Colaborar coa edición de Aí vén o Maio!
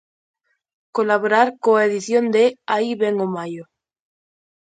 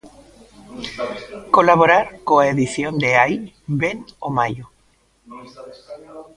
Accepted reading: first